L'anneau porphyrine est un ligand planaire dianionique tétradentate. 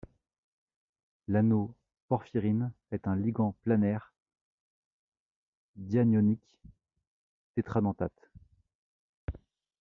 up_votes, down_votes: 2, 0